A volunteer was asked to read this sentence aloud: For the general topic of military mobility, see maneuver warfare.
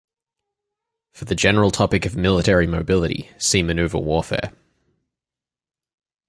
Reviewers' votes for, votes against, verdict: 2, 2, rejected